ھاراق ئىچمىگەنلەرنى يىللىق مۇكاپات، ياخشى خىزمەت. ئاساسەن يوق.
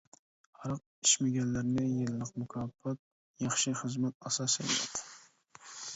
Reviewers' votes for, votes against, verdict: 1, 2, rejected